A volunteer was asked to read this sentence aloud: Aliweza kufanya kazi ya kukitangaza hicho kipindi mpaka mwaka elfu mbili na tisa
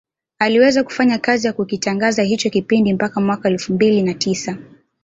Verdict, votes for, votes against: rejected, 1, 2